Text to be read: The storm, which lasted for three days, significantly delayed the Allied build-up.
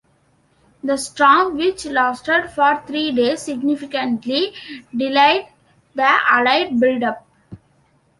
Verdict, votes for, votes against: accepted, 2, 1